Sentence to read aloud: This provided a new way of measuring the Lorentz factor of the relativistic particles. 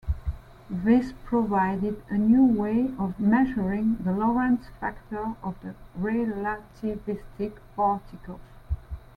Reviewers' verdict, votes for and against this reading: accepted, 3, 0